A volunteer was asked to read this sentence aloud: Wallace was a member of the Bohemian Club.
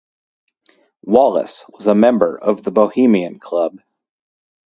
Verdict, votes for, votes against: rejected, 0, 2